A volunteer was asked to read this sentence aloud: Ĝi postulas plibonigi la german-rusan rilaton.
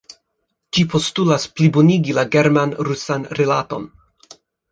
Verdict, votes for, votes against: accepted, 2, 0